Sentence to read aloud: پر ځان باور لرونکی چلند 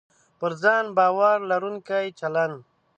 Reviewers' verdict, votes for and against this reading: accepted, 2, 0